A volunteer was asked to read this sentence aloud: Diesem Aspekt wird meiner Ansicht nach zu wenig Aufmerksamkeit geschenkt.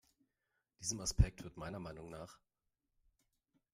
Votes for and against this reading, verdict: 1, 2, rejected